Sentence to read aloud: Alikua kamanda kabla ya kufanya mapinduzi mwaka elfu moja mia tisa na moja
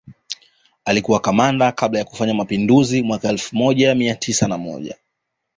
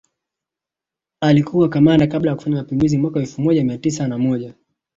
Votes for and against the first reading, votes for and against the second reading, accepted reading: 2, 0, 0, 2, first